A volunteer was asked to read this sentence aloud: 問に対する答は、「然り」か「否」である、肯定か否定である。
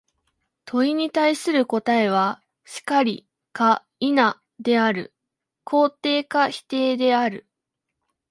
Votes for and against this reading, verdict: 2, 1, accepted